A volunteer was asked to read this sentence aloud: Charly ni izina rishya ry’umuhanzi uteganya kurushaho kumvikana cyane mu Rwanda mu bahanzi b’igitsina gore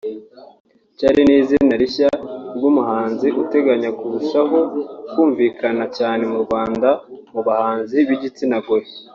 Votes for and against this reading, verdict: 2, 0, accepted